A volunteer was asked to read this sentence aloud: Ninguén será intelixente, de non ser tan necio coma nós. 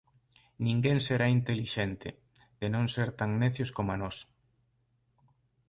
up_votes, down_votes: 0, 2